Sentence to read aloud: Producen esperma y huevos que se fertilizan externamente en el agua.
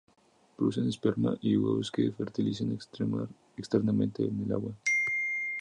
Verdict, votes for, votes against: rejected, 0, 2